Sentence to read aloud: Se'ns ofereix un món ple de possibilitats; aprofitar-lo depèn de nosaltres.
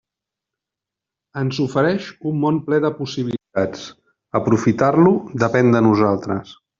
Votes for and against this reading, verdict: 0, 2, rejected